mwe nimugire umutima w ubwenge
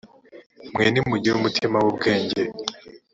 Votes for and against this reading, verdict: 5, 0, accepted